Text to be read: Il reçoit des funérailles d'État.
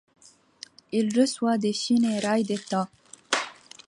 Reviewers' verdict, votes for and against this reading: accepted, 2, 0